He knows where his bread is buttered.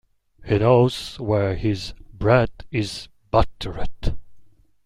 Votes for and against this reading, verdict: 0, 2, rejected